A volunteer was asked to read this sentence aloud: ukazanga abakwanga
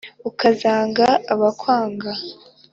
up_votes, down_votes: 4, 1